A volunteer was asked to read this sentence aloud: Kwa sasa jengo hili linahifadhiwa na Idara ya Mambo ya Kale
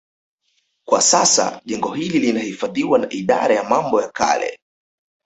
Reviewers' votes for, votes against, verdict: 2, 0, accepted